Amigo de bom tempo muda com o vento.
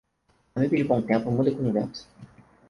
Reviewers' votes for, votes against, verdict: 0, 4, rejected